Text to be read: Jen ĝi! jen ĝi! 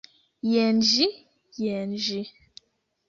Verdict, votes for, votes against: accepted, 2, 0